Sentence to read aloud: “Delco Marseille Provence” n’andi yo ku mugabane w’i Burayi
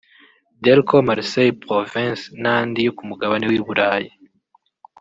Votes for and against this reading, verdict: 2, 0, accepted